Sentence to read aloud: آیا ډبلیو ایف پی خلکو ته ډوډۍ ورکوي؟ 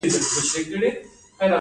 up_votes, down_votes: 1, 2